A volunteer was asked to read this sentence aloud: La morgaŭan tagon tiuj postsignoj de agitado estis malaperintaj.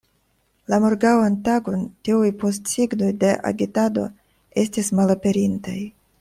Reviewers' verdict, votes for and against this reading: accepted, 2, 0